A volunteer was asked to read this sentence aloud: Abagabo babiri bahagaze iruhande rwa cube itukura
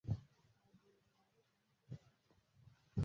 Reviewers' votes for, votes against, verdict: 0, 2, rejected